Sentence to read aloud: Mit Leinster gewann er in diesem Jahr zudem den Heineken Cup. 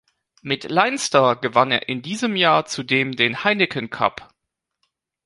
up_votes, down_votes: 3, 0